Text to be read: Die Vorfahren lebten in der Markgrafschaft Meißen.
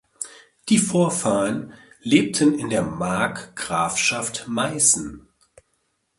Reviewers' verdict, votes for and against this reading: accepted, 2, 0